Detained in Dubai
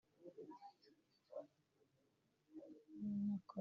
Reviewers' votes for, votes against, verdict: 0, 2, rejected